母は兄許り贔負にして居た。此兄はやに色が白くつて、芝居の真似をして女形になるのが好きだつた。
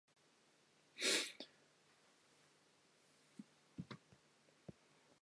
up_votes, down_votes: 6, 34